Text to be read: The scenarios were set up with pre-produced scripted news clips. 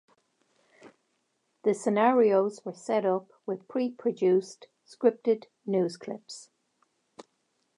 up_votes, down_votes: 2, 0